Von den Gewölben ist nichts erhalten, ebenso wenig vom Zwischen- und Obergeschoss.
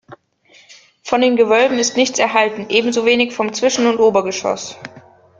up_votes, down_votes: 2, 0